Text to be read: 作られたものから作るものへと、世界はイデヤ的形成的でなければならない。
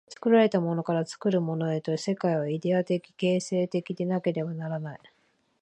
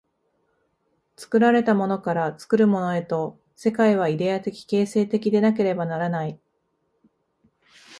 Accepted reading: second